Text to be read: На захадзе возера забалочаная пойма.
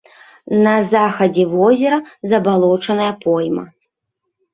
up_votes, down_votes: 2, 0